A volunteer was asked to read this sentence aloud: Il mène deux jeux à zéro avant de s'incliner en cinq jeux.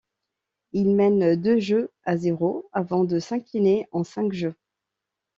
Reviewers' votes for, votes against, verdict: 2, 0, accepted